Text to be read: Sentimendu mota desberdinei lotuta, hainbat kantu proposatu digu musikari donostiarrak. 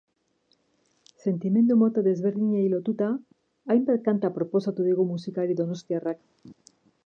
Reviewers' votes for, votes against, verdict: 0, 2, rejected